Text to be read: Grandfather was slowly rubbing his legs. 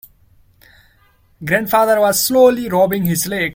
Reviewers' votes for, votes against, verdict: 0, 2, rejected